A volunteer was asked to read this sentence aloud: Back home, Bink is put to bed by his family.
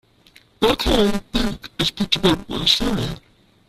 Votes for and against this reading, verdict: 0, 2, rejected